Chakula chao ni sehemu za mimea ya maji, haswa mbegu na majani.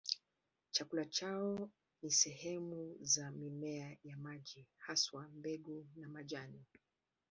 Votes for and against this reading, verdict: 2, 1, accepted